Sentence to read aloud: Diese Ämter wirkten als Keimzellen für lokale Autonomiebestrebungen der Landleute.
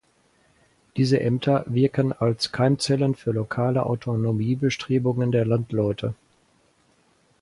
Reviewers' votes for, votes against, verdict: 0, 4, rejected